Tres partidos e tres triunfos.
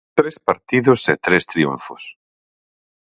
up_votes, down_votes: 4, 0